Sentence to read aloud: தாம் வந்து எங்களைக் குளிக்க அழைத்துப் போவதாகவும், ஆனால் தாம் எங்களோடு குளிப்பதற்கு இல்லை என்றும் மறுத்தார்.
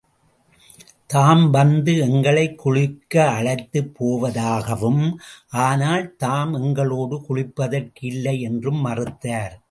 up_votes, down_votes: 2, 0